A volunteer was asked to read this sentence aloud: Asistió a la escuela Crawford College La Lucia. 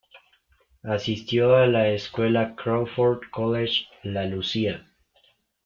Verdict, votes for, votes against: accepted, 2, 0